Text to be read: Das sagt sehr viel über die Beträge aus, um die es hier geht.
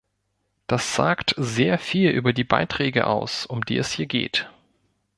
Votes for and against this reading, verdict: 1, 2, rejected